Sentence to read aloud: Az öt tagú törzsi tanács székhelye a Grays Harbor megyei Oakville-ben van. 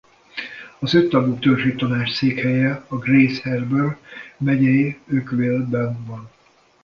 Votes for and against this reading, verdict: 1, 2, rejected